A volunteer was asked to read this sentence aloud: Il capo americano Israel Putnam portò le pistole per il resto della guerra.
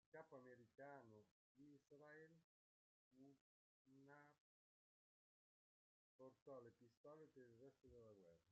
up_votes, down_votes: 0, 2